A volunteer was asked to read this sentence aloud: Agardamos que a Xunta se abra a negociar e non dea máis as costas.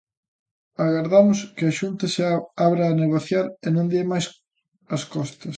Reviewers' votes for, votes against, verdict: 0, 2, rejected